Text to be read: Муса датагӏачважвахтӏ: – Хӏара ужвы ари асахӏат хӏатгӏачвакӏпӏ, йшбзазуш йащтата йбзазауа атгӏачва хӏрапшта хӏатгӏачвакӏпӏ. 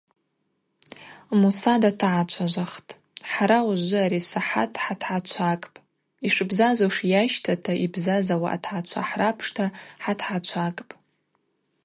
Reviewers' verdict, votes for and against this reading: accepted, 4, 0